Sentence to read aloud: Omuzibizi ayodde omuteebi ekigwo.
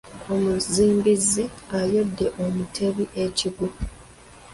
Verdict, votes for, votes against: rejected, 0, 2